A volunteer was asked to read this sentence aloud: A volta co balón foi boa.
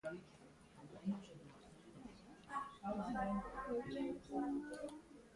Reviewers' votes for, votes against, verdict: 0, 2, rejected